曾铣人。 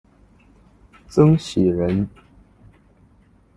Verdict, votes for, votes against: rejected, 1, 2